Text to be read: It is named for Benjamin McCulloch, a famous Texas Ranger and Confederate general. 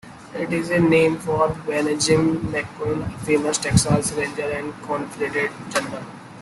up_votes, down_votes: 0, 2